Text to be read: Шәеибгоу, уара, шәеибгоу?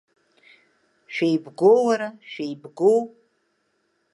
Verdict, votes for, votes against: accepted, 2, 0